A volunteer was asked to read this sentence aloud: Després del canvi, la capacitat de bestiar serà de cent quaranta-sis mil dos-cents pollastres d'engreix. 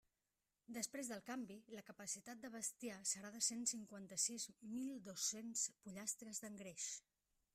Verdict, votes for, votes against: rejected, 1, 2